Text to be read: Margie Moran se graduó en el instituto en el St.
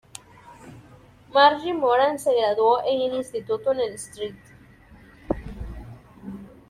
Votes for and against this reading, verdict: 2, 0, accepted